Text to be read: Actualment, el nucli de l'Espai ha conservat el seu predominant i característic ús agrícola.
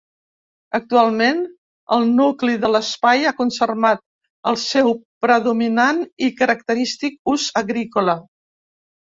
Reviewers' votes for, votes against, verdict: 2, 3, rejected